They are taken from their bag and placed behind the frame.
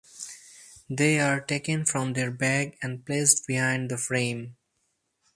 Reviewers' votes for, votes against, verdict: 4, 0, accepted